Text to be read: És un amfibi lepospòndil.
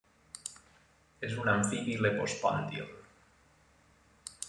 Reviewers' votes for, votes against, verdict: 2, 1, accepted